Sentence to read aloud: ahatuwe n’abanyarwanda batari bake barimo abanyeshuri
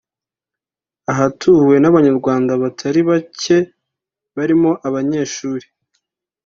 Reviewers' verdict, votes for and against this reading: accepted, 3, 0